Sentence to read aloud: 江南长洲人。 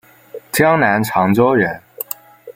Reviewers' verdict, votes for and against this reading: accepted, 2, 0